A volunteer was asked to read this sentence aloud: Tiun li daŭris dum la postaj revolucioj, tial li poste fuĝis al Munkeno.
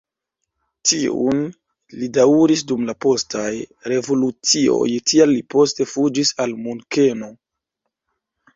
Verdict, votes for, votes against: rejected, 1, 2